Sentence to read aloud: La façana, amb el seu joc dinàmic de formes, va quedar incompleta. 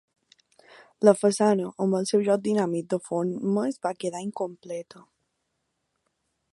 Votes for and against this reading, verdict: 2, 0, accepted